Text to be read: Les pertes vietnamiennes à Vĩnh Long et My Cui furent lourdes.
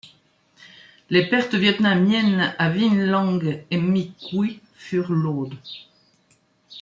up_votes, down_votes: 2, 0